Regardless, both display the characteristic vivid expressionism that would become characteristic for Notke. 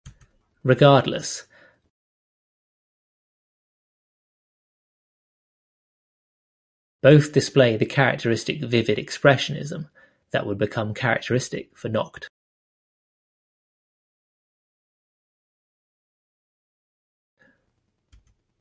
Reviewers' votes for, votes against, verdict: 0, 2, rejected